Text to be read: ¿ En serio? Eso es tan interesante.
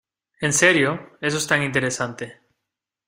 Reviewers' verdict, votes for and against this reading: accepted, 2, 0